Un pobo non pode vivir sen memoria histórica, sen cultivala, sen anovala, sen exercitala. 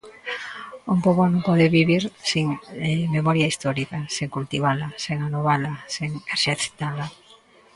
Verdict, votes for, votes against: rejected, 0, 2